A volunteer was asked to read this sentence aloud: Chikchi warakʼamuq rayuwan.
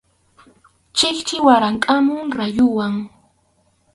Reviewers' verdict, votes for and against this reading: rejected, 2, 2